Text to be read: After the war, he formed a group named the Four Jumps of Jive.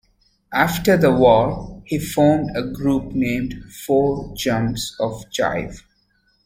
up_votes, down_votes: 2, 1